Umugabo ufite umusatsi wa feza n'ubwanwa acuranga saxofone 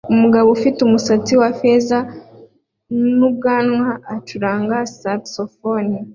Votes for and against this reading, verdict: 2, 0, accepted